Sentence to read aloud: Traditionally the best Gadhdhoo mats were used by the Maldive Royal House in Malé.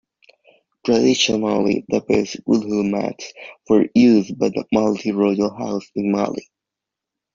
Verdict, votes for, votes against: rejected, 0, 2